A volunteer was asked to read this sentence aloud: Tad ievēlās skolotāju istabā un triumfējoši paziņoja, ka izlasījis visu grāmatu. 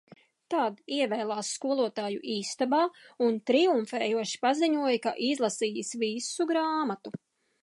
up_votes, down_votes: 2, 0